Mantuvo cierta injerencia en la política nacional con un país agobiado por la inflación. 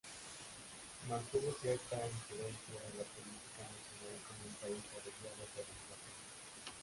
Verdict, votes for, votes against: rejected, 0, 3